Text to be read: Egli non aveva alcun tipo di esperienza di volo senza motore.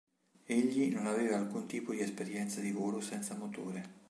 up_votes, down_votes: 4, 0